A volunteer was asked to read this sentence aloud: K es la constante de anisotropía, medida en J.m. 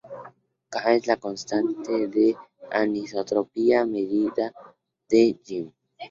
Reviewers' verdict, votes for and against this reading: accepted, 2, 0